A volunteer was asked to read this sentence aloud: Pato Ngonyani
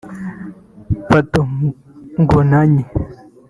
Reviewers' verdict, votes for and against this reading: rejected, 1, 2